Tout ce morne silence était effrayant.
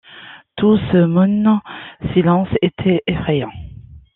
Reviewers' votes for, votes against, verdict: 1, 2, rejected